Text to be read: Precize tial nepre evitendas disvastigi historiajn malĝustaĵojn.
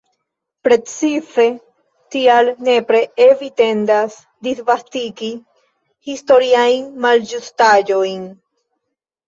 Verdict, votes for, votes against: rejected, 0, 2